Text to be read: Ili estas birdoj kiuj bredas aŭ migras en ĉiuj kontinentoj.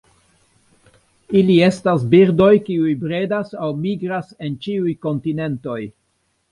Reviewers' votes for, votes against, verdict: 2, 1, accepted